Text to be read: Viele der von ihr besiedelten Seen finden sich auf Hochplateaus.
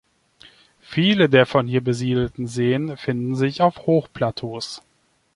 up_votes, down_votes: 2, 0